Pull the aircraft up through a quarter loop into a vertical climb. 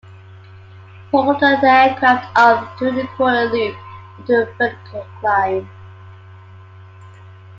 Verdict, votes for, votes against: rejected, 0, 2